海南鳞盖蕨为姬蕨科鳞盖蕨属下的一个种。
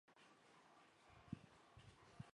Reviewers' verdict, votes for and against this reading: accepted, 2, 0